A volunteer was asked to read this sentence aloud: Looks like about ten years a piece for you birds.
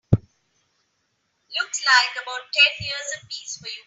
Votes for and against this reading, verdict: 0, 3, rejected